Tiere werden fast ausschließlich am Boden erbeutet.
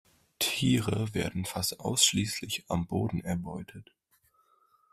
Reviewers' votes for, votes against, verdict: 2, 0, accepted